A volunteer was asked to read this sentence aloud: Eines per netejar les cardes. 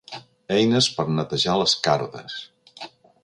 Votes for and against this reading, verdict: 0, 2, rejected